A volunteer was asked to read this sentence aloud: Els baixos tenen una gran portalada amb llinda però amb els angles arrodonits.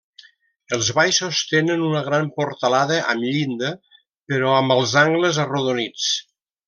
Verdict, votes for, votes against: accepted, 2, 0